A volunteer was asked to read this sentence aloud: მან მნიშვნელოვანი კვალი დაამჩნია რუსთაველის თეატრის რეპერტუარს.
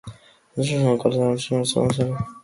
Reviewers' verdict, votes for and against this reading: rejected, 1, 3